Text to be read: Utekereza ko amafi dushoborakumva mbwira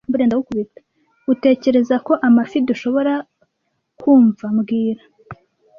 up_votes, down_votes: 0, 2